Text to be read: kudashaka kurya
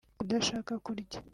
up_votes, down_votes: 2, 0